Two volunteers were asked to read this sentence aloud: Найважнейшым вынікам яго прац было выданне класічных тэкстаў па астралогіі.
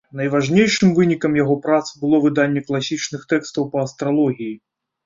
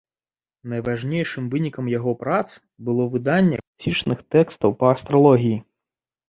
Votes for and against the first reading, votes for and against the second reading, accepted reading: 2, 0, 1, 2, first